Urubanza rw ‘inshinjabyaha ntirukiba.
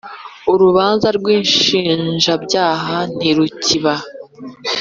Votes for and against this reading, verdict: 2, 0, accepted